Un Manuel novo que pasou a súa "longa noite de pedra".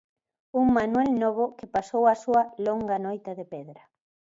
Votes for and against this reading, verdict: 0, 2, rejected